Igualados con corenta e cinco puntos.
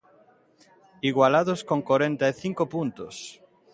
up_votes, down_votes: 2, 0